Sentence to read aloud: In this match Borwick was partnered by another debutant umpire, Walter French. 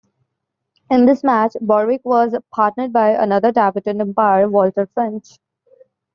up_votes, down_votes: 1, 2